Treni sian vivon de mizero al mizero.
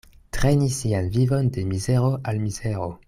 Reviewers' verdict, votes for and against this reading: accepted, 2, 1